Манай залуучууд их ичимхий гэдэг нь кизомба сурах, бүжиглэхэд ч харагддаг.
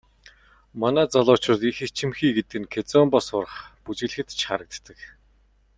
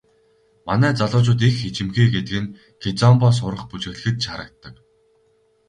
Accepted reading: first